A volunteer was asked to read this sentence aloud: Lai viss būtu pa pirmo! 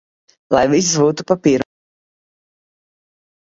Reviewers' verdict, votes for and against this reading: rejected, 0, 3